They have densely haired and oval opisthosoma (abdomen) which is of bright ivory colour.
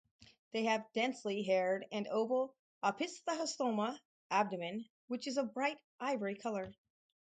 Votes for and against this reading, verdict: 0, 4, rejected